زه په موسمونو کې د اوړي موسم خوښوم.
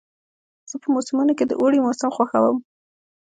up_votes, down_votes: 0, 2